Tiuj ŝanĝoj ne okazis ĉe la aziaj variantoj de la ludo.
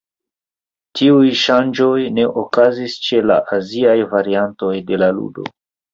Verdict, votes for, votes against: accepted, 2, 0